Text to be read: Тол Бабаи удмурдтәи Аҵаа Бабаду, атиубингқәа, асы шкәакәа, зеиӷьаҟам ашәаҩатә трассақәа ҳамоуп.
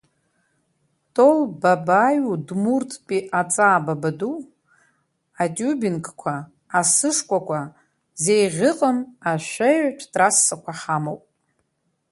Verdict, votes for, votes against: rejected, 1, 2